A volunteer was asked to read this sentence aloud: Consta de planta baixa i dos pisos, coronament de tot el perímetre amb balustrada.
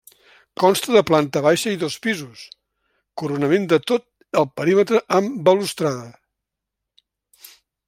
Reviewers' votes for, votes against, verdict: 2, 0, accepted